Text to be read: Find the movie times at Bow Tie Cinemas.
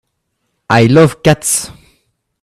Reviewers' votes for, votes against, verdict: 0, 2, rejected